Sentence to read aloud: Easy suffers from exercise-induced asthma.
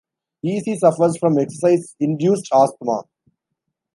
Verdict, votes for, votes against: accepted, 2, 0